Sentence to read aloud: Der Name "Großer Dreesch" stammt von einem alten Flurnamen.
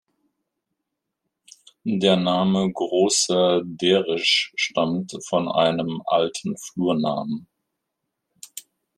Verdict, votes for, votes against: rejected, 0, 2